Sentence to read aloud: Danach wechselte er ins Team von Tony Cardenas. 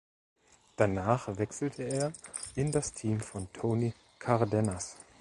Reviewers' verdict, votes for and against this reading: rejected, 0, 2